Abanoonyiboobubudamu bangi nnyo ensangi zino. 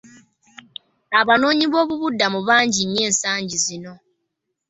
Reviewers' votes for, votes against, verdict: 1, 2, rejected